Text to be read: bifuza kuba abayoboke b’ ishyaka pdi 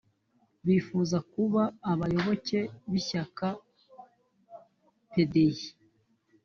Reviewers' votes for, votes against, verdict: 2, 0, accepted